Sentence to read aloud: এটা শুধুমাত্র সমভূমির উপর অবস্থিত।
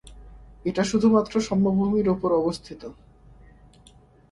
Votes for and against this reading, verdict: 2, 0, accepted